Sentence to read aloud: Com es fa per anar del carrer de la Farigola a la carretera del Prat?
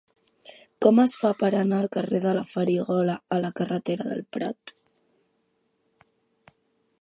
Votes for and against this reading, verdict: 1, 2, rejected